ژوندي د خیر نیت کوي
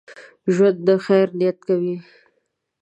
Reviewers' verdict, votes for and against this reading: rejected, 0, 2